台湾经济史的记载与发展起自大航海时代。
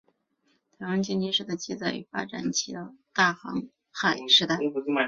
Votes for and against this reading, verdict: 3, 0, accepted